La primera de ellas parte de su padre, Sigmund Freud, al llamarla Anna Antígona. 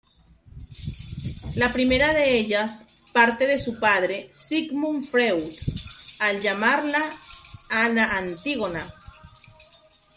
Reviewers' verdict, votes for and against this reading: rejected, 1, 2